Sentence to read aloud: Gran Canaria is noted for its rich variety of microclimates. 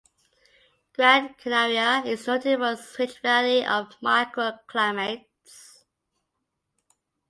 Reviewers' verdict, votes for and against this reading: accepted, 2, 1